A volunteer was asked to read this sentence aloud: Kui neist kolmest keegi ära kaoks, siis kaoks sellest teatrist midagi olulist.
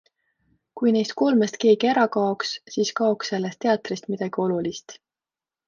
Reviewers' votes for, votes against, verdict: 2, 0, accepted